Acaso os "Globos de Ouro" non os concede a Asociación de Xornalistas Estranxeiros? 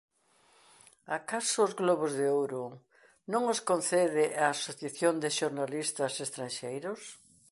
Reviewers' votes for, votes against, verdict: 2, 0, accepted